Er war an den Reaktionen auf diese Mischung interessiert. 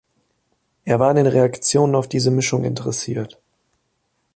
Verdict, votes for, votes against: accepted, 2, 0